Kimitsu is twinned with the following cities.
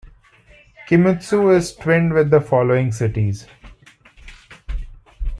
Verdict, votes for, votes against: rejected, 1, 2